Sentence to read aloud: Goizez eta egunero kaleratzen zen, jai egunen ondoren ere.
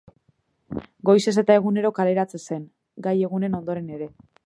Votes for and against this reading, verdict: 1, 2, rejected